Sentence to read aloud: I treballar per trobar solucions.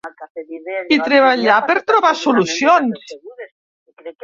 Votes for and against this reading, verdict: 1, 2, rejected